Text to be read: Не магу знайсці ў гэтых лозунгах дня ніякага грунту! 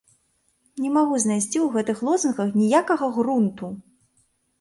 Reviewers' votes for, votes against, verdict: 1, 2, rejected